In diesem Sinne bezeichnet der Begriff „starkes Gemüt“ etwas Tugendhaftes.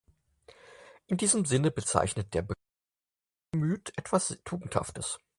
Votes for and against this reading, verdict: 0, 4, rejected